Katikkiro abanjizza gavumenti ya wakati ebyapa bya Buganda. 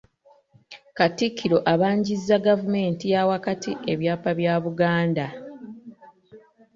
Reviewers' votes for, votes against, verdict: 1, 2, rejected